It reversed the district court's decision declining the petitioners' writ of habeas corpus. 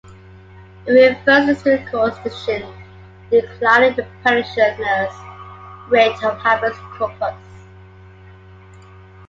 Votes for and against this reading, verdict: 0, 2, rejected